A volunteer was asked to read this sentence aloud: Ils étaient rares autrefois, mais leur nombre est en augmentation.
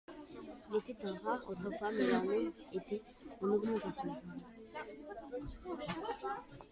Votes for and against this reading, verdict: 0, 2, rejected